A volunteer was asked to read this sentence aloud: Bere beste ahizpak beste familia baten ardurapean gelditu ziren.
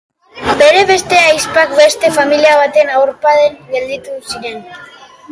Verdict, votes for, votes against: rejected, 0, 3